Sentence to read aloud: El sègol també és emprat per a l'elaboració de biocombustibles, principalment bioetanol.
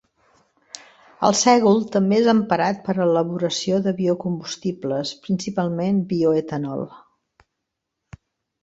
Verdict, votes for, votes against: rejected, 1, 2